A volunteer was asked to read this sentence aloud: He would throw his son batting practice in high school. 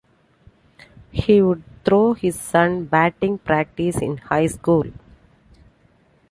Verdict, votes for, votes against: accepted, 2, 0